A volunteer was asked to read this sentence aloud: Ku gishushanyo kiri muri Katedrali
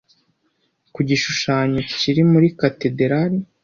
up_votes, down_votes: 2, 0